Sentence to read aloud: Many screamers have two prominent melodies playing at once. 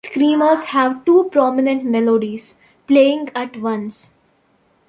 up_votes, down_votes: 0, 2